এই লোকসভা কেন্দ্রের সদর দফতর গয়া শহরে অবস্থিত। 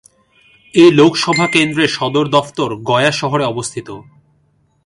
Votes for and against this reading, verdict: 2, 0, accepted